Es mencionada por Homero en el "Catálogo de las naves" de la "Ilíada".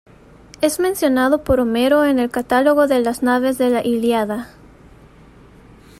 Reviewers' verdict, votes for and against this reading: rejected, 1, 2